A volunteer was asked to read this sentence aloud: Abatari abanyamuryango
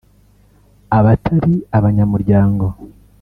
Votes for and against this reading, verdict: 3, 0, accepted